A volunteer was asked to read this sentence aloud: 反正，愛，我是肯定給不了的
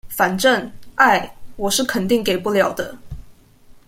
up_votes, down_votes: 2, 0